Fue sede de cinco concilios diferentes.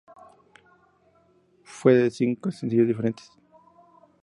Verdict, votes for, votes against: rejected, 0, 2